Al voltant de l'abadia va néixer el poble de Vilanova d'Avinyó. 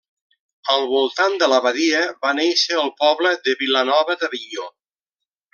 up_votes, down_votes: 1, 2